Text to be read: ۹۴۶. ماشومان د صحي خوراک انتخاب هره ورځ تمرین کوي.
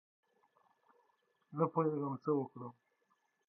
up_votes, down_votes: 0, 2